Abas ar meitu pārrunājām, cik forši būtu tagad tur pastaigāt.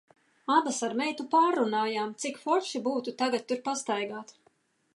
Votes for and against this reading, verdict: 2, 0, accepted